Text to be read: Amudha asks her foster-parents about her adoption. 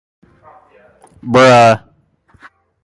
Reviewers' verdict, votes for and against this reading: rejected, 0, 2